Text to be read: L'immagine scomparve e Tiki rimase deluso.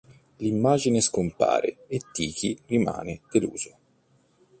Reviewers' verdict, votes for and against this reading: rejected, 1, 2